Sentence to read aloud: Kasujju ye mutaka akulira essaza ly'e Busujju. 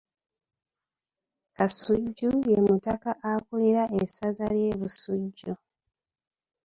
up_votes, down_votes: 2, 0